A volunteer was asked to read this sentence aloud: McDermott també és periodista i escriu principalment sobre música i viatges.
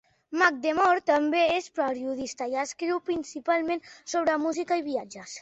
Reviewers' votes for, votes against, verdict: 2, 0, accepted